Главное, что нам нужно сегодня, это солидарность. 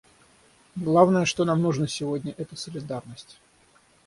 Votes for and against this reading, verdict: 3, 3, rejected